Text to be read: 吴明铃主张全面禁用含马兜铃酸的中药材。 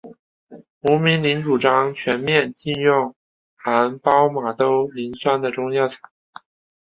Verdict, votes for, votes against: rejected, 1, 2